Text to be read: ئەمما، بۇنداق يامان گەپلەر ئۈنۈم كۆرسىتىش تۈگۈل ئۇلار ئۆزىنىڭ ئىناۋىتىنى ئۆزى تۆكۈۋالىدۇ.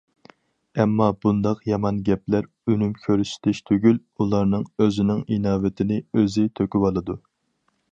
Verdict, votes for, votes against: rejected, 0, 2